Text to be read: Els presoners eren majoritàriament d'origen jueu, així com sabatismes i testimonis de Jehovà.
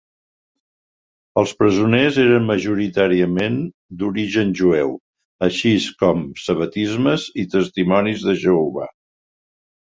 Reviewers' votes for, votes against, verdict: 1, 2, rejected